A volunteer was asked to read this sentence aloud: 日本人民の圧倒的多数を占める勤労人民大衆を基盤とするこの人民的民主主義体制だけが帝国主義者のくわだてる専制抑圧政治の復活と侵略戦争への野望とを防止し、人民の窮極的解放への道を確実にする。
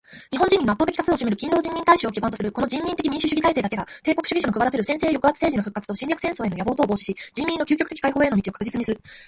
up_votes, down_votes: 2, 1